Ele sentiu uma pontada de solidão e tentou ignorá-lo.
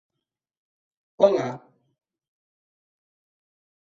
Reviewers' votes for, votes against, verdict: 0, 2, rejected